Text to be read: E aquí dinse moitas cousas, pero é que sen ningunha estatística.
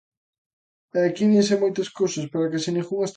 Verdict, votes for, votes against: rejected, 0, 2